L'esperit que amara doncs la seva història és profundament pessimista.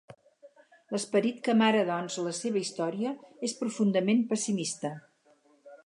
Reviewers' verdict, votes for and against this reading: accepted, 4, 0